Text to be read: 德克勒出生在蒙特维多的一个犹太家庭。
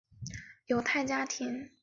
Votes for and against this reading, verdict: 0, 5, rejected